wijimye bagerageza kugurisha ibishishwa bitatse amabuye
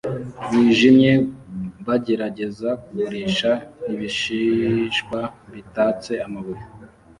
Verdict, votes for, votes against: accepted, 2, 0